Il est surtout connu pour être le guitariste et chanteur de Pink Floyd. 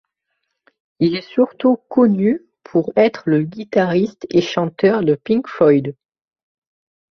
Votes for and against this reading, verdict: 1, 2, rejected